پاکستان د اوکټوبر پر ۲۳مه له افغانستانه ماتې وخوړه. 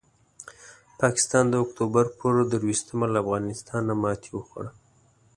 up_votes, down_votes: 0, 2